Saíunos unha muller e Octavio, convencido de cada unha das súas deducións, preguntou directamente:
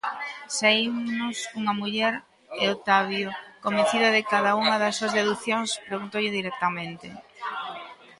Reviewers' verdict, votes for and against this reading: rejected, 1, 2